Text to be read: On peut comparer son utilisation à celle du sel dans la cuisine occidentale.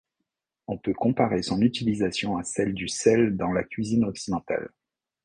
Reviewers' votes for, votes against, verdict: 2, 0, accepted